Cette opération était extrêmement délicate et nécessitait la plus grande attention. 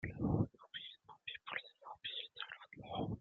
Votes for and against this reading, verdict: 0, 2, rejected